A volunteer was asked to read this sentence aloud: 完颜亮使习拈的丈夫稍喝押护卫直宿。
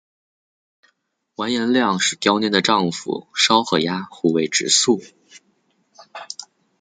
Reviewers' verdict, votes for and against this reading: accepted, 2, 1